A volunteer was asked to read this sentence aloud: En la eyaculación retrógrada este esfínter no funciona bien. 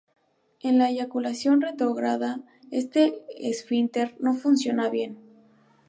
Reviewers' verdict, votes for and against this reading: accepted, 2, 0